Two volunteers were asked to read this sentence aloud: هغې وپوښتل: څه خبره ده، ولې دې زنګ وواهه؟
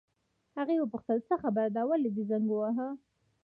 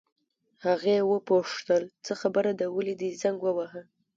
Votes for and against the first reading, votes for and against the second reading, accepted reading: 2, 1, 1, 2, first